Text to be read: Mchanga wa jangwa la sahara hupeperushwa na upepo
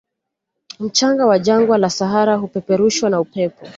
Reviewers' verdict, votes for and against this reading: accepted, 2, 0